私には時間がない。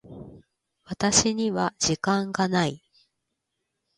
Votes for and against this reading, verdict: 2, 1, accepted